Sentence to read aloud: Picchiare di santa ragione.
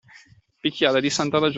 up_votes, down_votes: 1, 2